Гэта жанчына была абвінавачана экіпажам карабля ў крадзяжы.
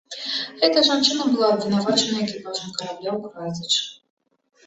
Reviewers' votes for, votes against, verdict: 0, 3, rejected